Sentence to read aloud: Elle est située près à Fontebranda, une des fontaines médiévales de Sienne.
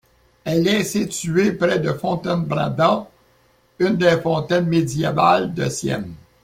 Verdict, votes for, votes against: rejected, 0, 2